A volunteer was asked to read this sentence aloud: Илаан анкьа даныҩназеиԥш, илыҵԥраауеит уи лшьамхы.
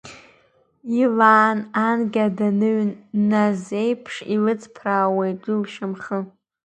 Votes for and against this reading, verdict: 2, 0, accepted